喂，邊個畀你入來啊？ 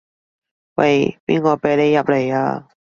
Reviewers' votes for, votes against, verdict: 2, 0, accepted